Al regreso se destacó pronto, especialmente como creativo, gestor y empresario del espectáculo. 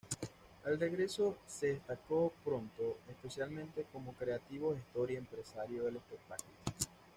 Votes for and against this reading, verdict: 1, 2, rejected